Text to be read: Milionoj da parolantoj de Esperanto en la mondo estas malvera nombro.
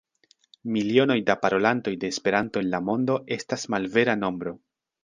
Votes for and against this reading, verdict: 2, 0, accepted